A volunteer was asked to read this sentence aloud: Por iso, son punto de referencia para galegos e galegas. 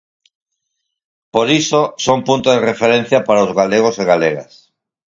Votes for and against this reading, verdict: 0, 4, rejected